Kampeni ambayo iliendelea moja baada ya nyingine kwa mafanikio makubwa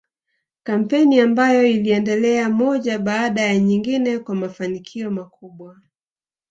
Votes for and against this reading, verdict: 0, 2, rejected